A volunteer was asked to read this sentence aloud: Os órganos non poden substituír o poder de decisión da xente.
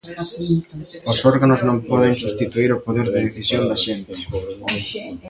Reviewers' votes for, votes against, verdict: 1, 2, rejected